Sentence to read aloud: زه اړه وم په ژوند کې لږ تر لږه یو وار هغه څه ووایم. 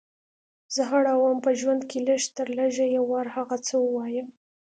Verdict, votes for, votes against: accepted, 2, 0